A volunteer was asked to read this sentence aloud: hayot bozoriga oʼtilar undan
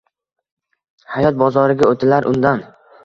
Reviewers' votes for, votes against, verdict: 2, 0, accepted